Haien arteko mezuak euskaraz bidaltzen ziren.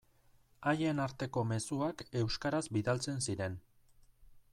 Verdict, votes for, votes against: rejected, 0, 2